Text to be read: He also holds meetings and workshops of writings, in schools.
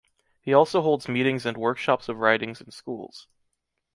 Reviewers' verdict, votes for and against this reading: rejected, 0, 2